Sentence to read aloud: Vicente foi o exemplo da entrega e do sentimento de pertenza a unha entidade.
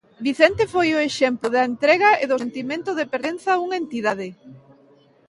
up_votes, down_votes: 2, 0